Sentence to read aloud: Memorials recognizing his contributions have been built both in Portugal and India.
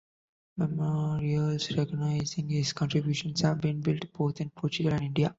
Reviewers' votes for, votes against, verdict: 1, 2, rejected